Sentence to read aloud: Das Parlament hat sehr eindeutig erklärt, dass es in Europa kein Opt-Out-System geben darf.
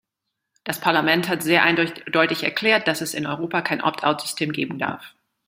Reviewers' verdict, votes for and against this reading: rejected, 1, 2